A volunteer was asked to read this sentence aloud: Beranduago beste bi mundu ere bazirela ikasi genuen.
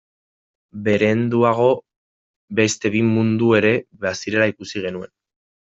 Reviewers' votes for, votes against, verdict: 0, 2, rejected